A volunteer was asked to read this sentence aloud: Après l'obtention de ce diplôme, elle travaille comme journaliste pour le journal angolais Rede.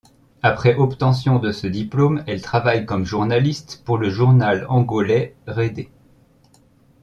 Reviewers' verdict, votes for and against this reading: rejected, 1, 2